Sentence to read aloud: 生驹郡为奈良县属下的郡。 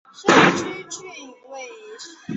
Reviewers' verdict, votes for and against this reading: rejected, 0, 2